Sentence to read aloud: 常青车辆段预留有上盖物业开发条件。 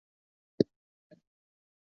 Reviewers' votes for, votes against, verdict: 0, 4, rejected